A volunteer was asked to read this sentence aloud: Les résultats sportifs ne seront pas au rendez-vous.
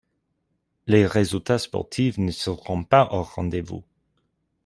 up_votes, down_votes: 2, 0